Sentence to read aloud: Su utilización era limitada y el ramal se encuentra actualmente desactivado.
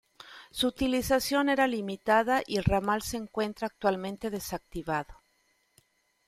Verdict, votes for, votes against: accepted, 2, 0